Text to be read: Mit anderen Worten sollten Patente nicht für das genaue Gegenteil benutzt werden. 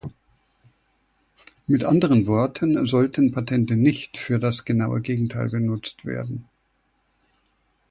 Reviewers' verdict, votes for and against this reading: accepted, 2, 0